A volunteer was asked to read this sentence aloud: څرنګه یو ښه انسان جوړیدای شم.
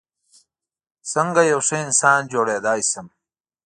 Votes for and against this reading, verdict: 1, 2, rejected